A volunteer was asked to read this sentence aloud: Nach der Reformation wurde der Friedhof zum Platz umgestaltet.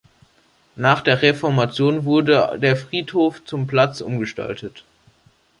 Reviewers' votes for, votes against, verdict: 2, 0, accepted